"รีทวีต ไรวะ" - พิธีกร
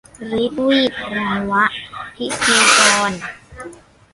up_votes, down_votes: 0, 2